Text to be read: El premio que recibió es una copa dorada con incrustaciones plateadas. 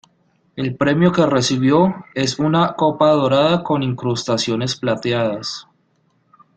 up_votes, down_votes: 2, 0